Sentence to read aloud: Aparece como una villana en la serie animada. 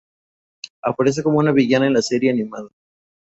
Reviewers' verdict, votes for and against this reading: accepted, 4, 0